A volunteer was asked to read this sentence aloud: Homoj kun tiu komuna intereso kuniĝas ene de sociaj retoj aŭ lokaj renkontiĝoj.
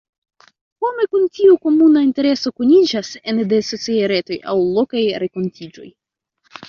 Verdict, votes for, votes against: accepted, 2, 1